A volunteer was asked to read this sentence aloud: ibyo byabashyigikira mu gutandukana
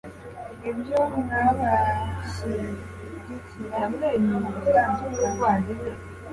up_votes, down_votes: 2, 1